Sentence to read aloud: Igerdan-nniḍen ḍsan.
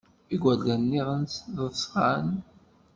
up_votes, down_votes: 1, 2